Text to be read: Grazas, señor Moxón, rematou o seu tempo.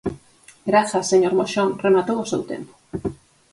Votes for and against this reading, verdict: 4, 0, accepted